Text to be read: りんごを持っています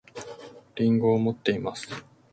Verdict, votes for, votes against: accepted, 2, 0